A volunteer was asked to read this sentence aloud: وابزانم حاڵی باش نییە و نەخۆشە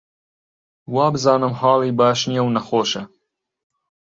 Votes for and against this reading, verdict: 2, 0, accepted